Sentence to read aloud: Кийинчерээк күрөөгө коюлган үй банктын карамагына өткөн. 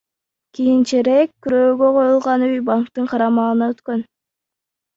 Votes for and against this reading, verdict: 2, 0, accepted